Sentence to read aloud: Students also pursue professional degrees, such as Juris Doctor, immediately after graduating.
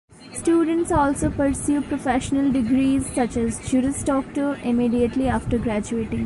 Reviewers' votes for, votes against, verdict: 1, 2, rejected